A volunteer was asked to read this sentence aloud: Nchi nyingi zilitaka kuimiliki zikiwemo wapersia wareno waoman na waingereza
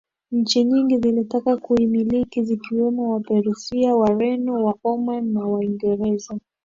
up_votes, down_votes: 2, 0